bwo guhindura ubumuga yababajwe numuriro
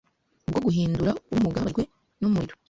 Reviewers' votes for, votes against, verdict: 1, 2, rejected